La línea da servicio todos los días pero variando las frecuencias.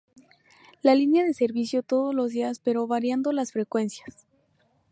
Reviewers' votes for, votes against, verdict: 0, 2, rejected